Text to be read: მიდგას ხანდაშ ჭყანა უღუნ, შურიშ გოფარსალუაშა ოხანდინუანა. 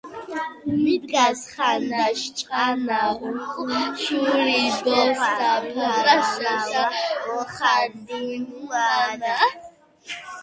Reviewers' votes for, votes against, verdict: 1, 2, rejected